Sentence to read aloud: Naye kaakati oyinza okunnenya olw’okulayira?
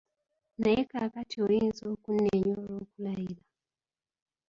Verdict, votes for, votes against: rejected, 0, 2